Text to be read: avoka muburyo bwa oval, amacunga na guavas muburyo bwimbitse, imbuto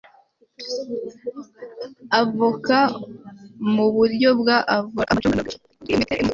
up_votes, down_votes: 1, 2